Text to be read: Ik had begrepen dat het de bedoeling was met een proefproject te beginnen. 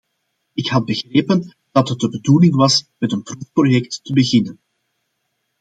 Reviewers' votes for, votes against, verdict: 2, 0, accepted